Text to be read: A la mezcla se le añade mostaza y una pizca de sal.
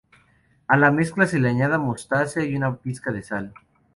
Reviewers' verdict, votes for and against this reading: rejected, 0, 2